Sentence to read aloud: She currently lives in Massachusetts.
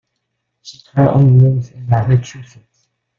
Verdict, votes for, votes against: rejected, 0, 2